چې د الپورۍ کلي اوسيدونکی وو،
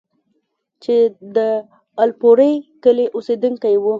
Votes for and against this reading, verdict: 2, 0, accepted